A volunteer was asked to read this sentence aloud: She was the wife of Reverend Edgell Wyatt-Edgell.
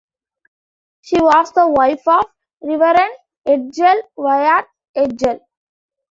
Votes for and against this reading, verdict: 3, 1, accepted